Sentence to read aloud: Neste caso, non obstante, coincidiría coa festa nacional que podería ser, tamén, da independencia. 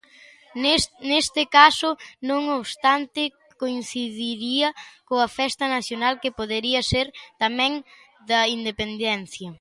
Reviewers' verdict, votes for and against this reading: rejected, 0, 2